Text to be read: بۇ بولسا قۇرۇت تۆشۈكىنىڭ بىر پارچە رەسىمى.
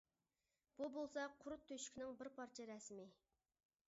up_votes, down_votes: 0, 2